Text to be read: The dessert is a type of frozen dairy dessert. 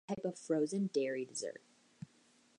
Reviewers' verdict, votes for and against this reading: rejected, 0, 3